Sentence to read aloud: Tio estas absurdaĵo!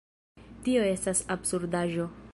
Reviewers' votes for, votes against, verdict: 1, 2, rejected